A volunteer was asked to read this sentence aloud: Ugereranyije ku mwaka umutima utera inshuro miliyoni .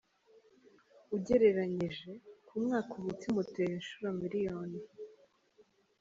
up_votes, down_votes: 3, 0